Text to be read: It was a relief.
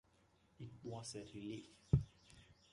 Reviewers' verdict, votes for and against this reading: accepted, 2, 1